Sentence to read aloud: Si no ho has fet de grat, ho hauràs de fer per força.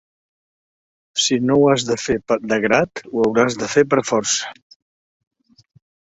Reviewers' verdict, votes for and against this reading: rejected, 0, 2